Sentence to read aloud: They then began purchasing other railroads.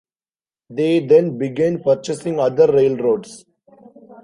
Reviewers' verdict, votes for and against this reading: rejected, 1, 2